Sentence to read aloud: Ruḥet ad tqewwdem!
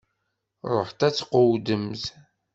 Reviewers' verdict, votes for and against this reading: rejected, 0, 2